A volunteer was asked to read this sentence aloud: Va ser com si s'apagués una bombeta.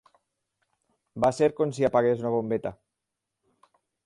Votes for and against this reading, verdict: 4, 6, rejected